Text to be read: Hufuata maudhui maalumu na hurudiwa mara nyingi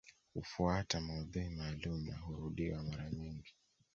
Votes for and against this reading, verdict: 2, 1, accepted